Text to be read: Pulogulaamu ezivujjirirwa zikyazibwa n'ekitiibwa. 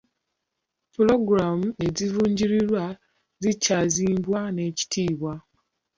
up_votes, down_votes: 0, 2